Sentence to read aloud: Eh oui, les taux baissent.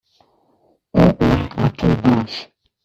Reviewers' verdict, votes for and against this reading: rejected, 0, 2